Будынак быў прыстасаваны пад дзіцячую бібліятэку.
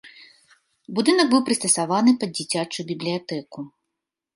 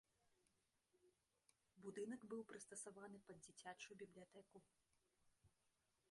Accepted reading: first